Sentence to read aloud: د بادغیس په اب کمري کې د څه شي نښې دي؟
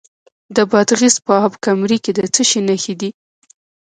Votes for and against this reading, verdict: 1, 2, rejected